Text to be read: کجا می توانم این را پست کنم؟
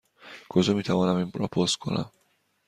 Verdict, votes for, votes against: accepted, 2, 0